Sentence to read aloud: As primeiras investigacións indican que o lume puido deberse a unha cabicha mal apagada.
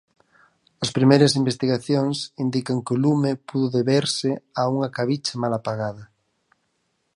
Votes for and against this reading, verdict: 2, 4, rejected